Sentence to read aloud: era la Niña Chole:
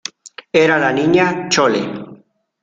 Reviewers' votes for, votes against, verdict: 2, 0, accepted